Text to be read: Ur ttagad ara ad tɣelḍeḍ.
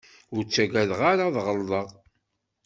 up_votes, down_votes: 0, 2